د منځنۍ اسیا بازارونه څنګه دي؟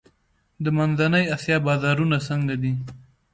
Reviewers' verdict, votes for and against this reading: accepted, 2, 0